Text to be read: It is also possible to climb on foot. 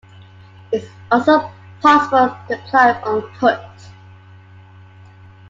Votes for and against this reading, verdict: 0, 2, rejected